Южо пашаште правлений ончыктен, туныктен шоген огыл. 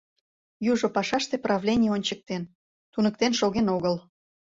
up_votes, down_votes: 2, 0